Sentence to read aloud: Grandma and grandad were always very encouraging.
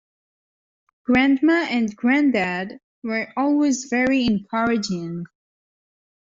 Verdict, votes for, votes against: accepted, 2, 0